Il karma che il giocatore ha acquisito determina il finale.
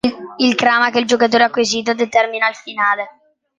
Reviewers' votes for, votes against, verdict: 0, 2, rejected